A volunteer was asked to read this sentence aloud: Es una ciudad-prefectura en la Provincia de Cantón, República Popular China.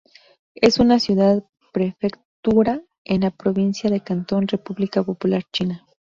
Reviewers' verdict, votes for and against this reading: rejected, 0, 2